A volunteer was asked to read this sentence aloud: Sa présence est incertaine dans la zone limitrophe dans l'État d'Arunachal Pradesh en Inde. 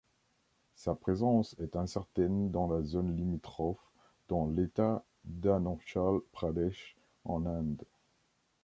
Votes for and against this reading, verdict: 1, 3, rejected